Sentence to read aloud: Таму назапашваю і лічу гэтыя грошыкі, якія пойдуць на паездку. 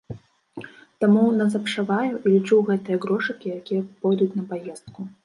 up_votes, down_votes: 1, 2